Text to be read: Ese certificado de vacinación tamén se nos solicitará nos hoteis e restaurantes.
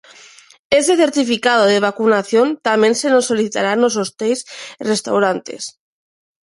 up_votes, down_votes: 0, 2